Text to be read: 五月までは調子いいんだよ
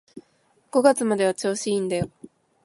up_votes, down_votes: 2, 0